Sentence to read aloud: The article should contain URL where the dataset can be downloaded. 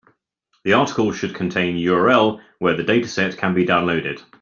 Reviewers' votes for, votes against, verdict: 4, 0, accepted